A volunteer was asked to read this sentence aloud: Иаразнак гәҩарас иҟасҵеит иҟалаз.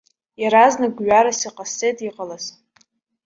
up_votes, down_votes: 1, 2